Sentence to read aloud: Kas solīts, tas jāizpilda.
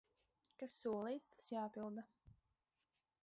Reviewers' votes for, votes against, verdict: 0, 8, rejected